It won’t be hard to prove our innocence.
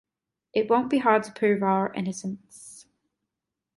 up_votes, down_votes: 2, 0